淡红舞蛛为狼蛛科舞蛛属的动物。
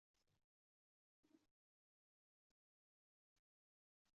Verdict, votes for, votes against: rejected, 0, 2